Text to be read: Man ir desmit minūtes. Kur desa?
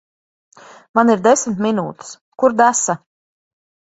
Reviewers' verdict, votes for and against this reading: accepted, 2, 0